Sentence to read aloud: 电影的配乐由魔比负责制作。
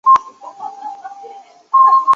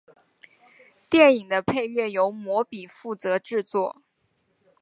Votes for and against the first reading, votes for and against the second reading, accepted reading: 0, 2, 4, 0, second